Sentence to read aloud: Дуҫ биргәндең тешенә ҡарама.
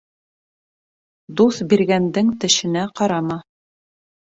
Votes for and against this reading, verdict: 2, 0, accepted